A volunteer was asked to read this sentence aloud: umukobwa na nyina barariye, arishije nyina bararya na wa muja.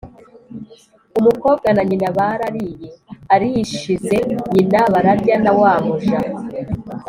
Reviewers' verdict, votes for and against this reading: accepted, 2, 0